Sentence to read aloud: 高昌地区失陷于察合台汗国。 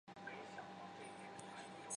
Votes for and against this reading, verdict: 0, 3, rejected